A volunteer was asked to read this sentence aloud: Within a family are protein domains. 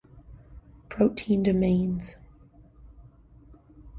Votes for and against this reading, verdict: 0, 2, rejected